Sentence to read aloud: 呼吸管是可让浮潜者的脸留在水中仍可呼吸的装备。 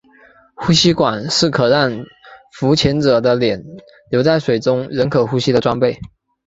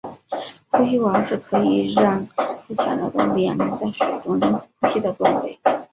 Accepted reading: first